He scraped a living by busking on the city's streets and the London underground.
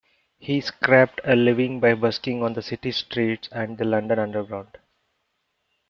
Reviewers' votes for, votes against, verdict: 1, 2, rejected